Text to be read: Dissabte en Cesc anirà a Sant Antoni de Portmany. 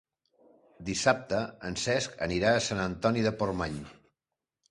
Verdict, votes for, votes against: accepted, 3, 1